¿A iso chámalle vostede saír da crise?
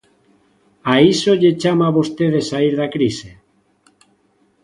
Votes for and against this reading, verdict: 0, 2, rejected